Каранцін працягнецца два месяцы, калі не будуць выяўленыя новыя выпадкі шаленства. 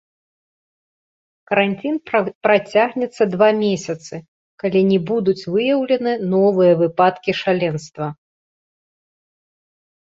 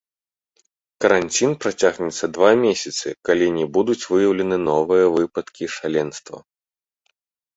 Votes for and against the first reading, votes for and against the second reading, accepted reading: 0, 2, 2, 0, second